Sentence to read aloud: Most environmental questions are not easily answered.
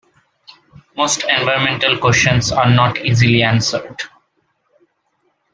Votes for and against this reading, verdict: 1, 2, rejected